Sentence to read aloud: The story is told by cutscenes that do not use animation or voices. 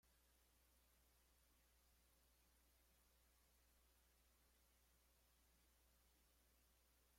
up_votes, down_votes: 0, 2